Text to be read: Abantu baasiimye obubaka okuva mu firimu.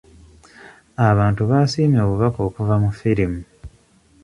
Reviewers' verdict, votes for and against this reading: accepted, 2, 0